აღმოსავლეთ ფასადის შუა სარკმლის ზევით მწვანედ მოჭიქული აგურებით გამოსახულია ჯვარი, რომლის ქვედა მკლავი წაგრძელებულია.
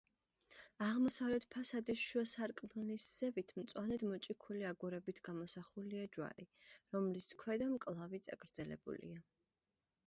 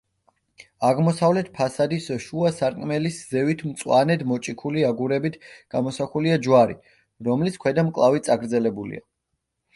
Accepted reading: first